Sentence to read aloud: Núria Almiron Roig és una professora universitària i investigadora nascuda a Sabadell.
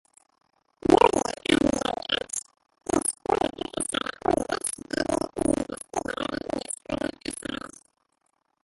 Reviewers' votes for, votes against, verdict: 1, 2, rejected